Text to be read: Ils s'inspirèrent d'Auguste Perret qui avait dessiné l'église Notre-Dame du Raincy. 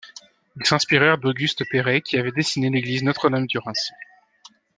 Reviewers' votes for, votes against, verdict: 0, 2, rejected